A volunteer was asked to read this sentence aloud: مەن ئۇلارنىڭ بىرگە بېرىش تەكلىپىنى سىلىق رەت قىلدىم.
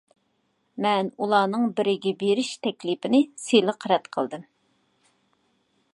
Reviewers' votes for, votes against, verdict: 1, 2, rejected